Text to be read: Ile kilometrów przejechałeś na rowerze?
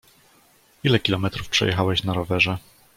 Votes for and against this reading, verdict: 2, 0, accepted